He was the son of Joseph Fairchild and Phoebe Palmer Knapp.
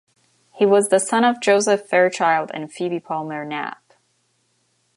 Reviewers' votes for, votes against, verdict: 2, 1, accepted